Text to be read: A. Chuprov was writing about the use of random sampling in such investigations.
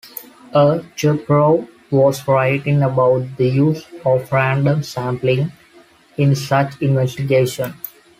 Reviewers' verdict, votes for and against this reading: rejected, 1, 2